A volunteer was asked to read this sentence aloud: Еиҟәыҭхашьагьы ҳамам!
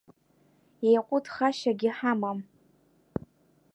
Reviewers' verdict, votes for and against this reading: accepted, 2, 0